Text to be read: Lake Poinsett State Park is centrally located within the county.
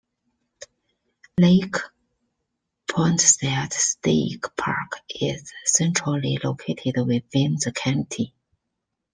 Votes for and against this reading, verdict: 2, 0, accepted